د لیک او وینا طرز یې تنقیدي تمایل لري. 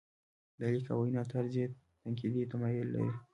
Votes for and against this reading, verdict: 2, 0, accepted